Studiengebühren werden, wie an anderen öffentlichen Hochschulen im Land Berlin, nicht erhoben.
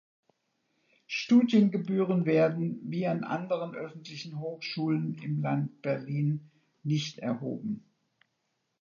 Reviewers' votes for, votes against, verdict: 2, 0, accepted